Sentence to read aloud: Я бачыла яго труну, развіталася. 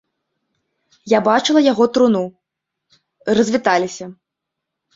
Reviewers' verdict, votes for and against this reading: rejected, 1, 2